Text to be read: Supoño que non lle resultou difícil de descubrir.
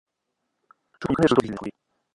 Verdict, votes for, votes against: rejected, 0, 2